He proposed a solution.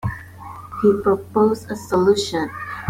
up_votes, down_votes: 2, 0